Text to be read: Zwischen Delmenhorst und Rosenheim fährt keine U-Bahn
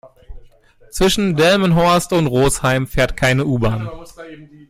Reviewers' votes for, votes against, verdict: 0, 2, rejected